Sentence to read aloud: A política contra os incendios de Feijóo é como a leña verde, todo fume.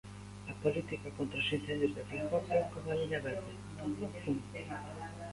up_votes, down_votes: 0, 2